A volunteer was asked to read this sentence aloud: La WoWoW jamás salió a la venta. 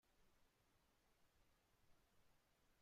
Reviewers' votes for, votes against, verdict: 0, 2, rejected